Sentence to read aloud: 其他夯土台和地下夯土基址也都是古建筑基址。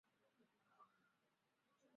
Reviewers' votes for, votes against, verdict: 0, 3, rejected